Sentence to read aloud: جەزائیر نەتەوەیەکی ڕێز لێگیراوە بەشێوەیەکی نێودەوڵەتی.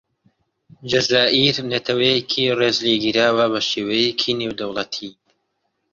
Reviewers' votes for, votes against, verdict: 2, 0, accepted